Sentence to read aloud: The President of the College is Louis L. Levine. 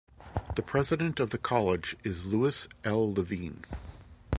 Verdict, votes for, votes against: accepted, 2, 0